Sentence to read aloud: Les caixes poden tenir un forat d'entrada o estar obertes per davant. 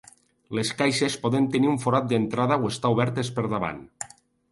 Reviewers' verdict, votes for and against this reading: accepted, 2, 0